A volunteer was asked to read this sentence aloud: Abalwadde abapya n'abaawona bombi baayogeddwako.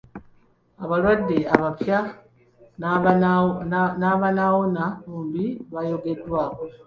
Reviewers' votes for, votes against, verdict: 0, 2, rejected